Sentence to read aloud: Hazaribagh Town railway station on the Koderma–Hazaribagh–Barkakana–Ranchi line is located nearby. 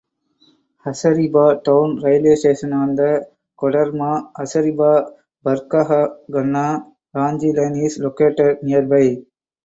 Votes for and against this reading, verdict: 2, 2, rejected